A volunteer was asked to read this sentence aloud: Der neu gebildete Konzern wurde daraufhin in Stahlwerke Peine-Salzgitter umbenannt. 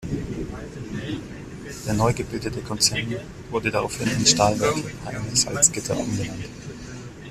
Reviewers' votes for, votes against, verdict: 1, 3, rejected